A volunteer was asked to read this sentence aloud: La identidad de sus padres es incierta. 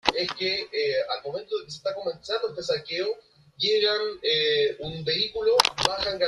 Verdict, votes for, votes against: rejected, 0, 2